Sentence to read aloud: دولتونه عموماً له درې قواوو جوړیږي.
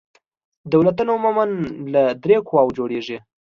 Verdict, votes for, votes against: accepted, 2, 0